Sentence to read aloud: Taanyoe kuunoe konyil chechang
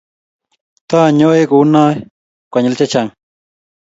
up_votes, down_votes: 3, 0